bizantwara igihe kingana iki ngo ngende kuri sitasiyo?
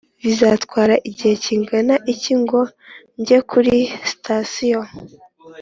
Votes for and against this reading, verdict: 4, 0, accepted